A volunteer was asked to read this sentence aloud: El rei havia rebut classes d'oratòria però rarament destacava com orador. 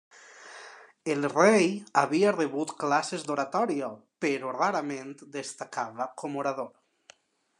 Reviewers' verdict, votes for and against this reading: accepted, 2, 0